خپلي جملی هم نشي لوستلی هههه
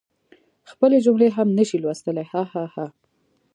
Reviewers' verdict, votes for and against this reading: accepted, 2, 1